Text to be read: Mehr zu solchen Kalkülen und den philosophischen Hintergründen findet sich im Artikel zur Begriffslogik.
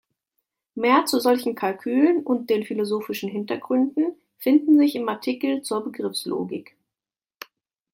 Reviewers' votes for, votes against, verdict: 0, 2, rejected